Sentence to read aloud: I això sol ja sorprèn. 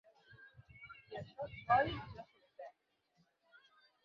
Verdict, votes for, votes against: rejected, 0, 4